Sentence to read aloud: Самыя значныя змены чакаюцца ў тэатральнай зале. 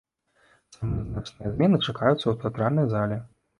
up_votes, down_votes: 0, 2